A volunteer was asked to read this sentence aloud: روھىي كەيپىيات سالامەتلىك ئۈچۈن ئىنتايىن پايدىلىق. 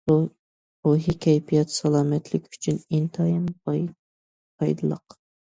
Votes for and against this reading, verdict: 0, 2, rejected